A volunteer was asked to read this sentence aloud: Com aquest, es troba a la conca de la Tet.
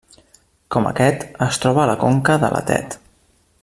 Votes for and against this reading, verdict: 3, 0, accepted